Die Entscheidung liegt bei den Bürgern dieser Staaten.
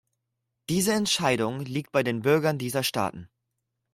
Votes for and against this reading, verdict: 1, 2, rejected